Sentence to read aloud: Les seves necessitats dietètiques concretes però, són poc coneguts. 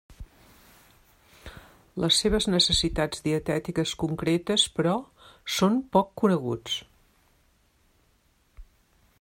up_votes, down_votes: 3, 0